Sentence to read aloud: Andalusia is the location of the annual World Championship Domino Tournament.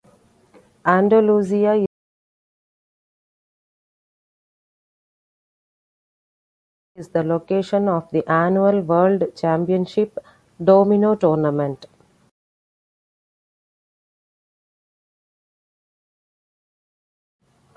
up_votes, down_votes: 0, 3